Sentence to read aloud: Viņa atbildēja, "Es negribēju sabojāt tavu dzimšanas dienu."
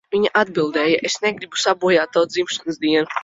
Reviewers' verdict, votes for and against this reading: rejected, 0, 2